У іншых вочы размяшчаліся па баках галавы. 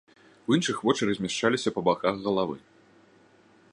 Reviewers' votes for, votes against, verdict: 2, 0, accepted